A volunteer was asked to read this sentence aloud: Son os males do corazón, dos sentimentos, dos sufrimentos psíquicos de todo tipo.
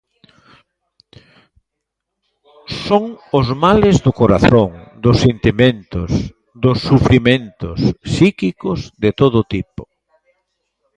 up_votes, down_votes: 1, 2